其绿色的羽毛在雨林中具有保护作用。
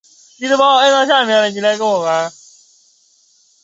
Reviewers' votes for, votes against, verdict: 1, 2, rejected